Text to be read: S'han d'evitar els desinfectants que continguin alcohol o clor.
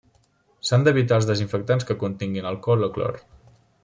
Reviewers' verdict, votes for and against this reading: rejected, 0, 2